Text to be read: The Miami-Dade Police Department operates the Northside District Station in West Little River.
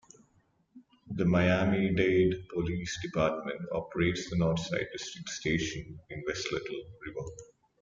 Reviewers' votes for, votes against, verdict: 2, 0, accepted